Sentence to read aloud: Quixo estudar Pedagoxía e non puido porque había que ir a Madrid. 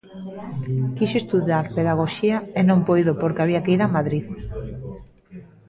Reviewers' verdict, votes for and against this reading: accepted, 2, 0